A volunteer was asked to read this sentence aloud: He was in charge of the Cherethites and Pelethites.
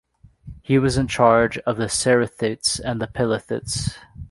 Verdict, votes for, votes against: rejected, 1, 2